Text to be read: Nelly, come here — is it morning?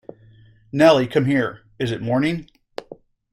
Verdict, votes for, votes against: accepted, 2, 0